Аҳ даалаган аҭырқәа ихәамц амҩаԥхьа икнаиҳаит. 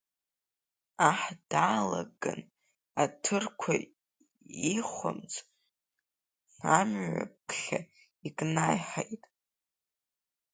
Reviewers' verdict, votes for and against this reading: accepted, 2, 1